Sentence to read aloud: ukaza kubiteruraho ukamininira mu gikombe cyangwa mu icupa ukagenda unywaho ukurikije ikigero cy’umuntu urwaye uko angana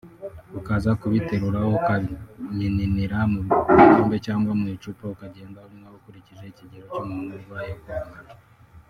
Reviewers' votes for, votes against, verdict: 3, 1, accepted